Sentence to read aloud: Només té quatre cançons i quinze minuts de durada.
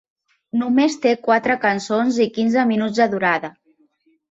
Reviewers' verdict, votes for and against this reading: accepted, 3, 0